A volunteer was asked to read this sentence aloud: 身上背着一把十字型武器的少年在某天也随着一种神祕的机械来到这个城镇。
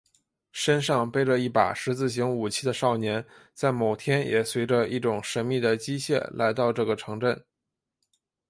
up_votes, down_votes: 3, 0